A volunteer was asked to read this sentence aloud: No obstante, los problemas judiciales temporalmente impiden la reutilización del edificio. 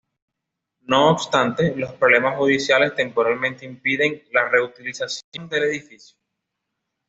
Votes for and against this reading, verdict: 2, 0, accepted